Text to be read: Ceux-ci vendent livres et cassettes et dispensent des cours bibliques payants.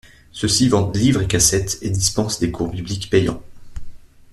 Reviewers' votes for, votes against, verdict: 2, 0, accepted